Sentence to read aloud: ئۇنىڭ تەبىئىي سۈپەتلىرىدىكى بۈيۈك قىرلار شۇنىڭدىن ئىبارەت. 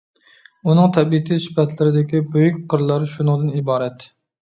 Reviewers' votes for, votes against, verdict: 0, 2, rejected